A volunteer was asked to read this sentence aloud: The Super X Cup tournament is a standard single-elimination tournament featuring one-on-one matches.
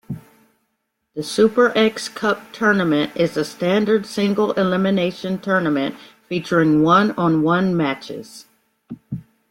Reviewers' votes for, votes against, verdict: 2, 0, accepted